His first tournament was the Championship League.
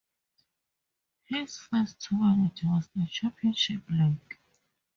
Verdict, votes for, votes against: accepted, 2, 0